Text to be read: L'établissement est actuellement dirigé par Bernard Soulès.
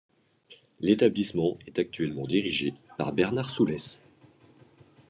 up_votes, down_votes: 2, 0